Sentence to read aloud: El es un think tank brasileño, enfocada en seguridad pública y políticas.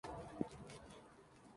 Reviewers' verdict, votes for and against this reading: rejected, 0, 2